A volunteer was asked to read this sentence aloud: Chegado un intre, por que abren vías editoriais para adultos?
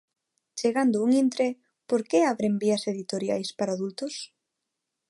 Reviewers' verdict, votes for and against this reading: rejected, 0, 2